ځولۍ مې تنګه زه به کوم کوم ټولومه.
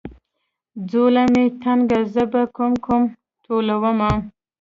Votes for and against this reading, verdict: 1, 2, rejected